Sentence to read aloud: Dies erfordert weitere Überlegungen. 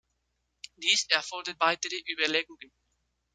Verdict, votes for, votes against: accepted, 2, 0